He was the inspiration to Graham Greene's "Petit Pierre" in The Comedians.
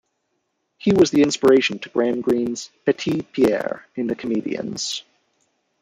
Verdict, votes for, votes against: rejected, 1, 2